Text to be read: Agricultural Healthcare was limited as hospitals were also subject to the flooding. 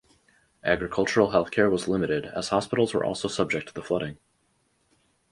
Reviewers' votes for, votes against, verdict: 4, 0, accepted